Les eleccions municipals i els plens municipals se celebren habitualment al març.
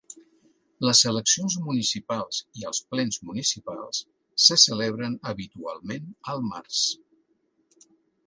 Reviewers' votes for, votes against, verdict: 3, 0, accepted